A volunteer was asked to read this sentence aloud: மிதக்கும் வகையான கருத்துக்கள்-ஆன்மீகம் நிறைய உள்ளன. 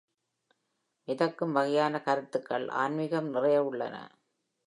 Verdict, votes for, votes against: accepted, 3, 0